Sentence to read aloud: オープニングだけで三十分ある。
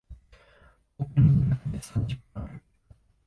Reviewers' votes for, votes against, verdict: 0, 2, rejected